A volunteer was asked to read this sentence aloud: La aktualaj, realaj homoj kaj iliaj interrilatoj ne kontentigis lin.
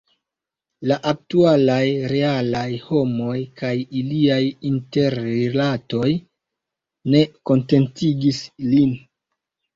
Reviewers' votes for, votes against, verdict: 2, 0, accepted